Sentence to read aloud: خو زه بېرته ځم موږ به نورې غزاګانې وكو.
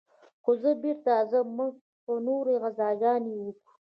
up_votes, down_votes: 1, 2